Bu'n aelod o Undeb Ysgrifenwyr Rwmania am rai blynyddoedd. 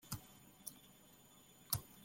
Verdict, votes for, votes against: rejected, 0, 2